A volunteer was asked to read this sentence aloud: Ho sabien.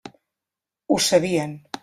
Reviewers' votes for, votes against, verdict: 3, 0, accepted